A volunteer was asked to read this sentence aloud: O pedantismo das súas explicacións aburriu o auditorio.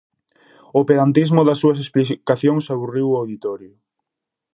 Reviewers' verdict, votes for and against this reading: rejected, 0, 4